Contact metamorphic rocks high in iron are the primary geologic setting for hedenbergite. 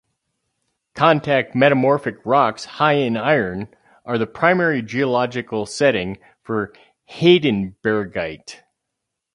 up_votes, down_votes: 2, 4